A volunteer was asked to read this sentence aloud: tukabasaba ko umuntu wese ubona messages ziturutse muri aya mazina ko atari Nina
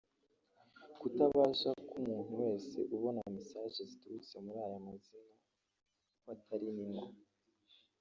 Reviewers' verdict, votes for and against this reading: rejected, 1, 2